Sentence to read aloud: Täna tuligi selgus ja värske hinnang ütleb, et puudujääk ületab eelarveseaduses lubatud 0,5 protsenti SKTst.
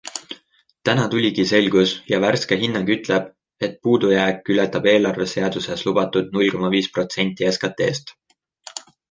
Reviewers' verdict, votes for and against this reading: rejected, 0, 2